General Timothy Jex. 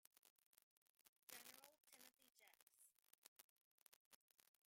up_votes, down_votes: 0, 2